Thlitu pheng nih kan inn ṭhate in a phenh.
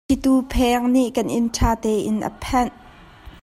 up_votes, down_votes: 1, 2